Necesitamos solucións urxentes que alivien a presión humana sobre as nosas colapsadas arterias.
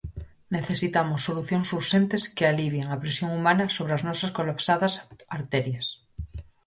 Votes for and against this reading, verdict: 2, 2, rejected